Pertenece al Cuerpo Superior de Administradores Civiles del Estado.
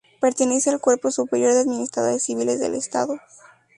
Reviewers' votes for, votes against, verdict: 2, 0, accepted